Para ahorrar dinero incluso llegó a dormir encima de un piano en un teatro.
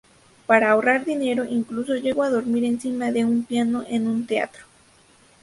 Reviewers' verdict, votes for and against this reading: accepted, 2, 0